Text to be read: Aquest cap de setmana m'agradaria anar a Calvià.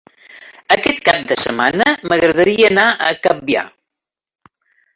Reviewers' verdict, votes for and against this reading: rejected, 0, 2